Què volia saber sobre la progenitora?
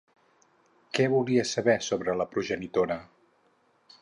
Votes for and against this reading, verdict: 4, 0, accepted